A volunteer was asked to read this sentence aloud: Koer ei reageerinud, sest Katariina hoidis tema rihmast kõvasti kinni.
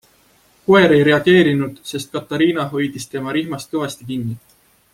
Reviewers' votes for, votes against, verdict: 2, 0, accepted